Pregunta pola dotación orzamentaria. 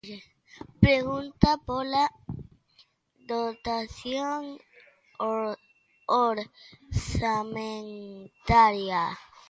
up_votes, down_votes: 0, 3